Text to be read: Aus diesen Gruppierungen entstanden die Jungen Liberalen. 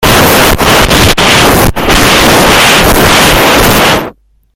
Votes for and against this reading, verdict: 0, 2, rejected